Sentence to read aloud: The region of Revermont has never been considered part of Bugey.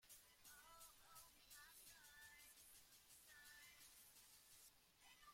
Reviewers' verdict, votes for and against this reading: rejected, 0, 2